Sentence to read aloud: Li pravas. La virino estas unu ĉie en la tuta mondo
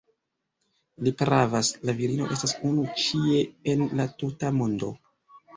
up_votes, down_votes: 2, 3